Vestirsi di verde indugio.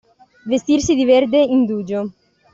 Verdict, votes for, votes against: accepted, 2, 0